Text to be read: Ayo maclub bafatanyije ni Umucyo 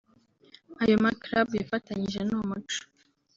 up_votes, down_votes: 1, 3